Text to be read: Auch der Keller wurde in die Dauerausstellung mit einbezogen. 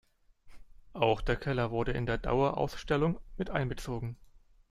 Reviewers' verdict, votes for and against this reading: rejected, 0, 2